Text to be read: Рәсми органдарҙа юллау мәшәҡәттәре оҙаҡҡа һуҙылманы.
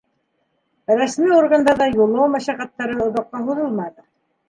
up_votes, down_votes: 2, 0